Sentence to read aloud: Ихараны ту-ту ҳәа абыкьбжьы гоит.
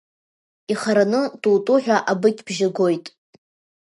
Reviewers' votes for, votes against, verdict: 2, 0, accepted